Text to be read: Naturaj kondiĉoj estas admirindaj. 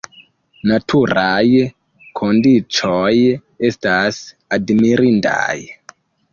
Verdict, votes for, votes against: rejected, 0, 2